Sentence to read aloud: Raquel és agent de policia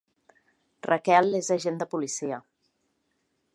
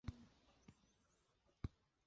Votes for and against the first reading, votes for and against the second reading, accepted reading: 3, 0, 0, 2, first